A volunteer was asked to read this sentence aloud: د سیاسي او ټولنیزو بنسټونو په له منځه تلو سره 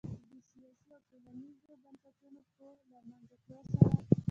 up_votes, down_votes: 0, 2